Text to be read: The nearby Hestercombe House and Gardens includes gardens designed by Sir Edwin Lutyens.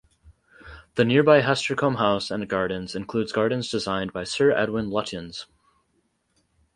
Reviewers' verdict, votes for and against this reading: accepted, 4, 0